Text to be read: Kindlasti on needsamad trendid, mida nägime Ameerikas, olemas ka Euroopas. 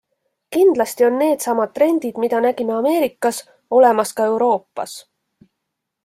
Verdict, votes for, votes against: accepted, 2, 0